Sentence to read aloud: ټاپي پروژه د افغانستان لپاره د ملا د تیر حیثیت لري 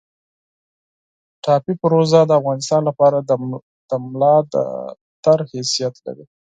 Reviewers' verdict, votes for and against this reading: rejected, 0, 4